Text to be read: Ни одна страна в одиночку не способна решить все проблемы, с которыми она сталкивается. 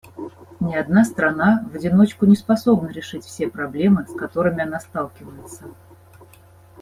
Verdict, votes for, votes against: accepted, 2, 0